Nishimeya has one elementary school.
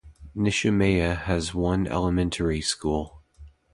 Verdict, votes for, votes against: accepted, 2, 0